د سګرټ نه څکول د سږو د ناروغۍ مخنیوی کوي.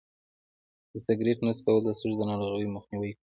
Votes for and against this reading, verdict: 2, 1, accepted